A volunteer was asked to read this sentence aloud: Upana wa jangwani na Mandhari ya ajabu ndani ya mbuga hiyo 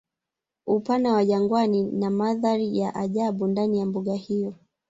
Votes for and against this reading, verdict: 1, 2, rejected